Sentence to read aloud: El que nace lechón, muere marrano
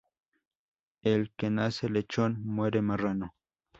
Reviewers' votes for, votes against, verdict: 2, 0, accepted